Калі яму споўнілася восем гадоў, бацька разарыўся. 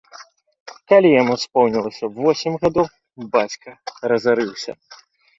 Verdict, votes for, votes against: rejected, 0, 2